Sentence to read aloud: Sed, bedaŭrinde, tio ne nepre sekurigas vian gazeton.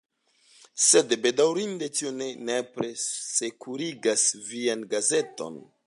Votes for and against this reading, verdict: 2, 0, accepted